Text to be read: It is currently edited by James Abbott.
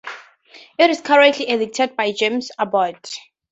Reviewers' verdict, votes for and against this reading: accepted, 4, 0